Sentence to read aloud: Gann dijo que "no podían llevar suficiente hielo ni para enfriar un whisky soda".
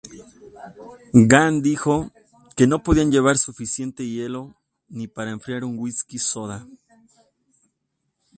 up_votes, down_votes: 2, 0